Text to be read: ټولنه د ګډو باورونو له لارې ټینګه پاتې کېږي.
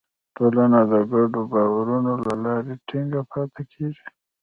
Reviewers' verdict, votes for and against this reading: rejected, 0, 2